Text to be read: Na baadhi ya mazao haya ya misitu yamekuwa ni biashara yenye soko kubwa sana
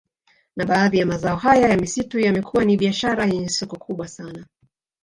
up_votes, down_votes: 0, 2